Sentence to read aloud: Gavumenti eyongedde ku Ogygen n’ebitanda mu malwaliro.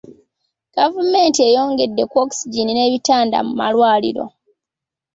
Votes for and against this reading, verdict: 2, 0, accepted